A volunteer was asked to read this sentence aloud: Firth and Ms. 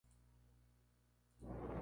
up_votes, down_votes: 0, 4